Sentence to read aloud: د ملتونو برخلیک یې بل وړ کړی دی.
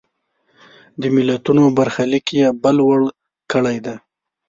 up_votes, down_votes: 2, 0